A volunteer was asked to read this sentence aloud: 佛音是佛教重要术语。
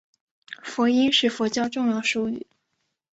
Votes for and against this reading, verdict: 3, 0, accepted